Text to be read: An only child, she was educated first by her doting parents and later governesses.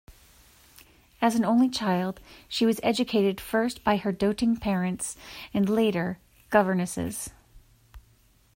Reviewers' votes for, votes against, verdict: 1, 2, rejected